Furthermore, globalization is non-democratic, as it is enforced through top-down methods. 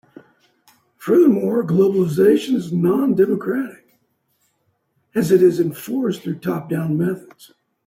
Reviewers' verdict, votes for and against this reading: accepted, 2, 0